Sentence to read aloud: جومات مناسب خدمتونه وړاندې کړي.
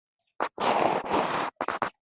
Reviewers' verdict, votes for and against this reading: rejected, 0, 2